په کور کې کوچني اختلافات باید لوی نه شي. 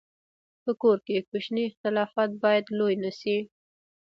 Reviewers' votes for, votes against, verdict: 1, 2, rejected